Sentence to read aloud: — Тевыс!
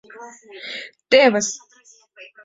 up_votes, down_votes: 2, 0